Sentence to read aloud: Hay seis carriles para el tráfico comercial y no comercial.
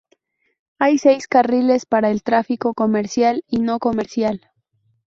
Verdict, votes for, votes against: accepted, 2, 0